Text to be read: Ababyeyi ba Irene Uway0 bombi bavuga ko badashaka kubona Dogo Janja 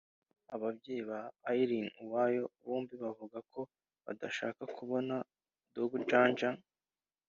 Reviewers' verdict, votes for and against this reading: rejected, 0, 2